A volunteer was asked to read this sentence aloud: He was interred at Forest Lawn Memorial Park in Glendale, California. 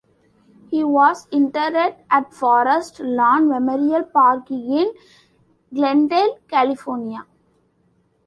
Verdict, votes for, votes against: rejected, 0, 2